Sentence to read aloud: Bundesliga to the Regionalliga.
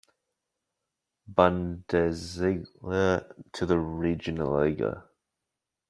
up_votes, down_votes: 1, 2